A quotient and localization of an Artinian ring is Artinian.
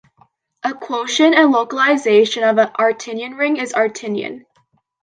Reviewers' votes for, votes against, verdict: 2, 0, accepted